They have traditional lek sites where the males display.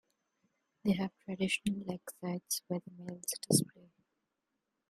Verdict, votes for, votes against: rejected, 0, 2